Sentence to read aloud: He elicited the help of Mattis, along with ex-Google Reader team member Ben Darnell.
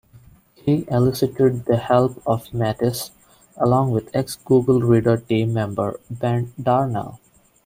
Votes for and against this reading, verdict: 1, 2, rejected